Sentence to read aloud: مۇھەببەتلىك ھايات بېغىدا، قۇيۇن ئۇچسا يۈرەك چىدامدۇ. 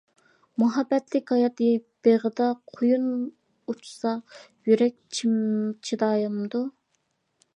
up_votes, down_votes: 0, 2